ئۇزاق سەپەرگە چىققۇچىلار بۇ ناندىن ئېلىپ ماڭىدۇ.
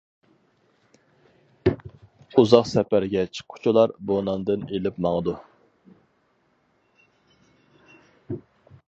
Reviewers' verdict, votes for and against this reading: accepted, 4, 0